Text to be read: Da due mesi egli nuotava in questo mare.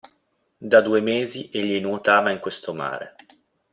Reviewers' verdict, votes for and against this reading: accepted, 2, 0